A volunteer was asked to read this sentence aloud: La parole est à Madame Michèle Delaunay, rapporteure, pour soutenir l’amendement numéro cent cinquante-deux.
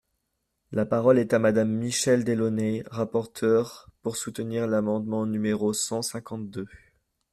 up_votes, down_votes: 1, 2